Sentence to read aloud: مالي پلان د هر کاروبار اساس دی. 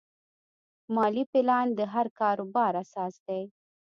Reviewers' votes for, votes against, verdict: 2, 0, accepted